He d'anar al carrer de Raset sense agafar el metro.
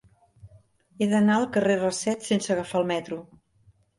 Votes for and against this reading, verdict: 0, 2, rejected